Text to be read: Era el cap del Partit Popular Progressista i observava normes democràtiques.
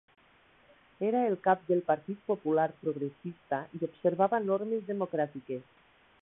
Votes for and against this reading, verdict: 0, 2, rejected